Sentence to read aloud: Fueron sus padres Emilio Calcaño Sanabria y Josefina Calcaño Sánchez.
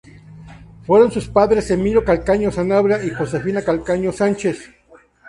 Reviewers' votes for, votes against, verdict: 2, 0, accepted